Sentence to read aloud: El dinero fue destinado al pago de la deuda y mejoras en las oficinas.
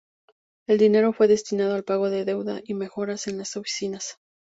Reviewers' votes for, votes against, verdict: 4, 0, accepted